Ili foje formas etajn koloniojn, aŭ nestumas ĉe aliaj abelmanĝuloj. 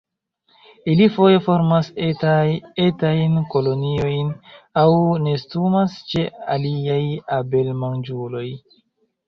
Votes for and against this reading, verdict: 0, 2, rejected